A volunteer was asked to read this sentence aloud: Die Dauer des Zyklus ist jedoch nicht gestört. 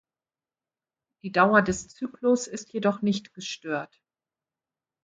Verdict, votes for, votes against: accepted, 2, 0